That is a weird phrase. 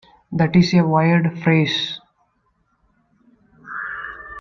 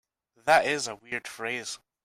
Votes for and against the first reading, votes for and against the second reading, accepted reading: 0, 2, 2, 0, second